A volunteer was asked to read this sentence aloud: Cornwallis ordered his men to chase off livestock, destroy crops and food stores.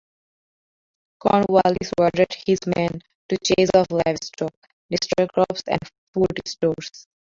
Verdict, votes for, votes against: rejected, 0, 2